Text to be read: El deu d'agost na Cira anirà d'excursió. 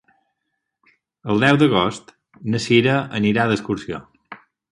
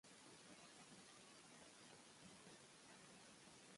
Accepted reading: first